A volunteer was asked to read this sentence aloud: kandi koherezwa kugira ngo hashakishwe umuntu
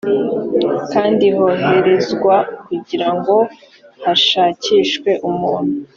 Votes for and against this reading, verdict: 0, 3, rejected